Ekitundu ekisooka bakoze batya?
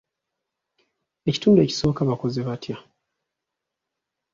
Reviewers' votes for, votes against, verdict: 0, 2, rejected